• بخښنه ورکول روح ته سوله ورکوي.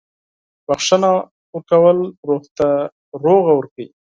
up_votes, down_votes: 0, 6